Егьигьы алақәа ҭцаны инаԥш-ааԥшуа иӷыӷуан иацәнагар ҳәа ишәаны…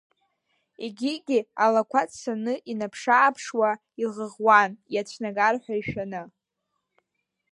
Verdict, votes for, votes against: rejected, 1, 2